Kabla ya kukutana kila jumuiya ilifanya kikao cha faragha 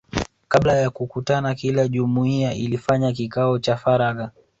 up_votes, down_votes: 0, 2